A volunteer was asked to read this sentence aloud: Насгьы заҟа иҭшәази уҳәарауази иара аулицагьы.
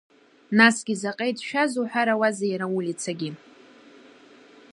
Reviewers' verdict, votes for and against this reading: rejected, 1, 2